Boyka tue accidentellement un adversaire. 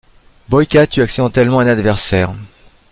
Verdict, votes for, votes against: accepted, 2, 1